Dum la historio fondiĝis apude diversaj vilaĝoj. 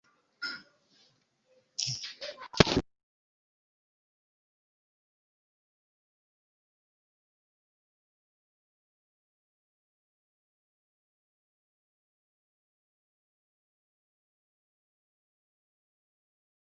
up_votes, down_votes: 0, 2